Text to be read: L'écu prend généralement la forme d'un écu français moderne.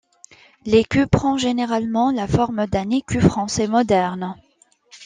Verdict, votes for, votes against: accepted, 3, 0